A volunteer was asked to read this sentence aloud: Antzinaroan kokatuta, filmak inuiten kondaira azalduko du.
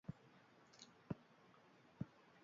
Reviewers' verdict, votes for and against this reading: rejected, 0, 3